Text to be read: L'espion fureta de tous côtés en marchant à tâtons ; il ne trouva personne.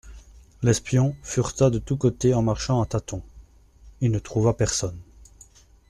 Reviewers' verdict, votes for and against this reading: accepted, 2, 0